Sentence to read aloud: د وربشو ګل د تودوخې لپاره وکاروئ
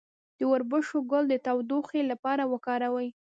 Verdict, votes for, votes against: rejected, 1, 2